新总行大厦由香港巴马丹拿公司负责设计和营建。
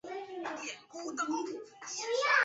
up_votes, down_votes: 0, 2